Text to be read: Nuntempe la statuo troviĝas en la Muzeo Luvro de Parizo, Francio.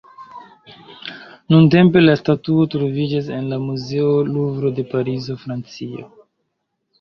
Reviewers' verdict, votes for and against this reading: accepted, 2, 1